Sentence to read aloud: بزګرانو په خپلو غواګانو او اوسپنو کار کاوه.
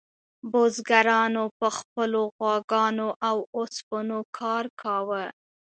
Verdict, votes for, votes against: accepted, 2, 0